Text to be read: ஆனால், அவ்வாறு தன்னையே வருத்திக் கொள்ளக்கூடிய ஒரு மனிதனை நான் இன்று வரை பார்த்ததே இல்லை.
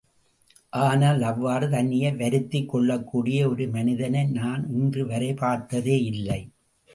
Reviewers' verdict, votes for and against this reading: rejected, 0, 2